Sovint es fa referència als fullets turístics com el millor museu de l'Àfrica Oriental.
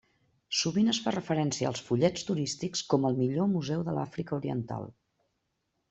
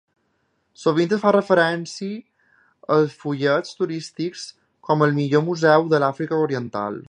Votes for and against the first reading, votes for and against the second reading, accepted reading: 3, 0, 1, 2, first